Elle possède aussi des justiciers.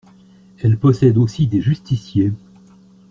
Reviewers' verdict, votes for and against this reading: accepted, 2, 0